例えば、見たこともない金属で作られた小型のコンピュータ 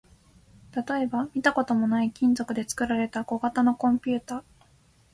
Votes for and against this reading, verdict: 2, 0, accepted